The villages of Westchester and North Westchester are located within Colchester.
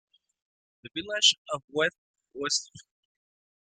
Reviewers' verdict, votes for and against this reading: rejected, 0, 2